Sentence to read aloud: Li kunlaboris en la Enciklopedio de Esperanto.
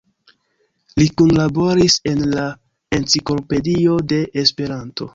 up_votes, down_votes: 2, 0